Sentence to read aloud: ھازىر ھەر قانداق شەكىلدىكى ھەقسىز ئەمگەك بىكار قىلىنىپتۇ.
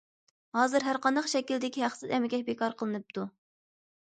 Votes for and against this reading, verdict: 2, 0, accepted